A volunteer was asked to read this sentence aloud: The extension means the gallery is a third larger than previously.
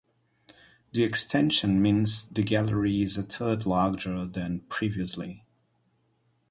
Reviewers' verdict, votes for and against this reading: accepted, 4, 0